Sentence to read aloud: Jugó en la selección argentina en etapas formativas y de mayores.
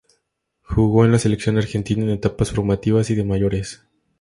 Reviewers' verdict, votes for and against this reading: accepted, 2, 0